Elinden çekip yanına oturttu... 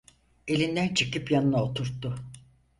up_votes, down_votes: 4, 0